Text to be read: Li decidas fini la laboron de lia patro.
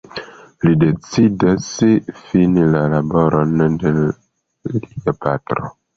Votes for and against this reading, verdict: 2, 0, accepted